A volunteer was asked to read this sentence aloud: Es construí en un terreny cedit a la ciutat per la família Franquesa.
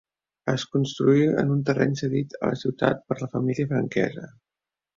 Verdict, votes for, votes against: rejected, 0, 2